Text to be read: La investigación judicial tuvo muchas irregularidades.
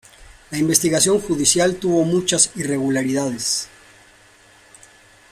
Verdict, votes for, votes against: rejected, 1, 2